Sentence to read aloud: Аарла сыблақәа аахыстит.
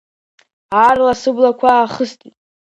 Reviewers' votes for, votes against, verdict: 2, 0, accepted